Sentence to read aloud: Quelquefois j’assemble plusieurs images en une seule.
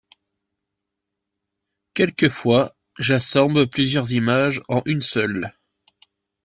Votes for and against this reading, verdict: 2, 0, accepted